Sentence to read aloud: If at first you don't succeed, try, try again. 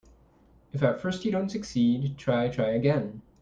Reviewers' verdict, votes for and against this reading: accepted, 2, 0